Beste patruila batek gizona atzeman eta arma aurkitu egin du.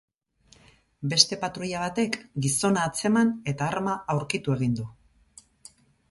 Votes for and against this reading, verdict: 6, 0, accepted